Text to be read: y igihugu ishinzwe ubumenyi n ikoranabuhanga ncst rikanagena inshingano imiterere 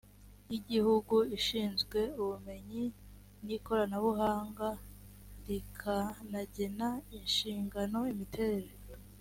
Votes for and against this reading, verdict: 4, 3, accepted